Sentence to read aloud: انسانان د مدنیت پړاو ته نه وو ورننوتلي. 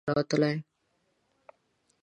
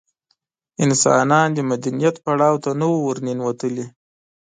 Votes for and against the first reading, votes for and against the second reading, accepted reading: 0, 2, 2, 0, second